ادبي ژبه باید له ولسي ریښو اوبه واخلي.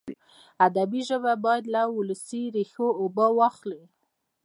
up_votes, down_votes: 2, 0